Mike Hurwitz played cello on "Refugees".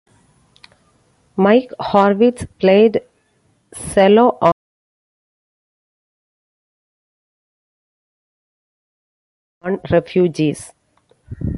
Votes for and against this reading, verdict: 0, 2, rejected